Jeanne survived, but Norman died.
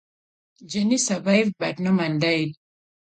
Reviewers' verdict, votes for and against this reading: rejected, 0, 2